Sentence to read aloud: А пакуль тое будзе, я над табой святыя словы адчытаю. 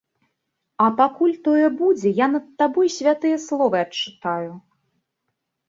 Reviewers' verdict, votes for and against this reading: accepted, 2, 0